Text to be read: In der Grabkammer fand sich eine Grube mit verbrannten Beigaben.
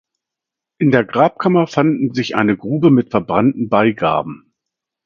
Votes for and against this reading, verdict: 0, 2, rejected